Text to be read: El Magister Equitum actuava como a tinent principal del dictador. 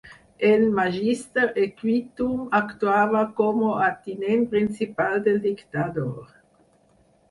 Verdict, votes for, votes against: rejected, 2, 4